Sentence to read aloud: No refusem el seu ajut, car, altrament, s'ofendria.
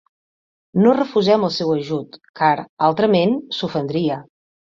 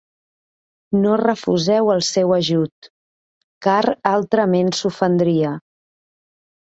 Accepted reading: first